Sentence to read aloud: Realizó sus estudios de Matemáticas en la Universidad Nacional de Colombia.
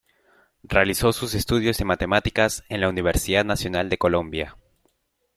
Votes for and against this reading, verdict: 1, 2, rejected